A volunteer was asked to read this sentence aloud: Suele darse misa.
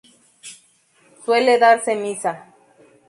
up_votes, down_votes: 0, 2